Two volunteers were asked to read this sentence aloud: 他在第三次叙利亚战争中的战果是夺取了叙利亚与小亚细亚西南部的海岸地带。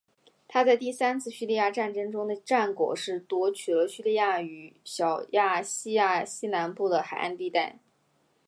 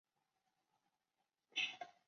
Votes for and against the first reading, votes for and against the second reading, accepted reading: 2, 1, 1, 2, first